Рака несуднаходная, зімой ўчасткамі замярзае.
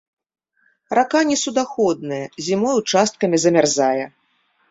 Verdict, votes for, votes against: rejected, 0, 2